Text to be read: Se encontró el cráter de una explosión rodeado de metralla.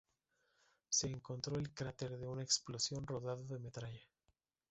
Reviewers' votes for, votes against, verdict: 2, 0, accepted